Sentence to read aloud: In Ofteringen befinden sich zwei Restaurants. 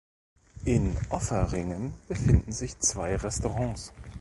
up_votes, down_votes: 1, 2